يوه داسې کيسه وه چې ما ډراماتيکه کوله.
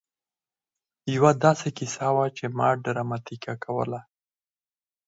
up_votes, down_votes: 4, 2